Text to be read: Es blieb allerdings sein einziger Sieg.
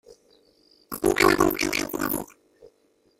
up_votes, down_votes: 0, 2